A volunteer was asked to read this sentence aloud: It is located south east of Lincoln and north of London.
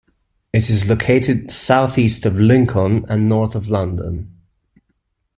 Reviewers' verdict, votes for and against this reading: accepted, 2, 0